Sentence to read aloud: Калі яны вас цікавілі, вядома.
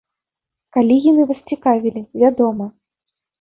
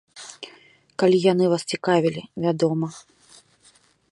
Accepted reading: second